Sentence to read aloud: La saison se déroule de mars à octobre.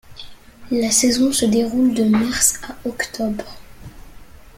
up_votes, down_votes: 2, 0